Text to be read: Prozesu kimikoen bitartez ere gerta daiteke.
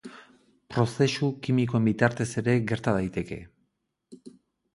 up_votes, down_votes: 4, 0